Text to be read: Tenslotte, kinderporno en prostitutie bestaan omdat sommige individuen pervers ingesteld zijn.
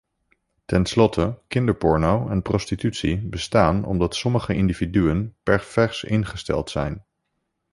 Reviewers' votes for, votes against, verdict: 1, 2, rejected